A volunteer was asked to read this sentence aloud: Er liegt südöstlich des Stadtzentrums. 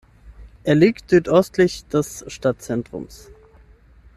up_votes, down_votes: 0, 6